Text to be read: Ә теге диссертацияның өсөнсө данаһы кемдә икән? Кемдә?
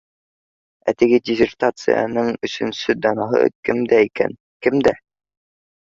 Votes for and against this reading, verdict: 2, 0, accepted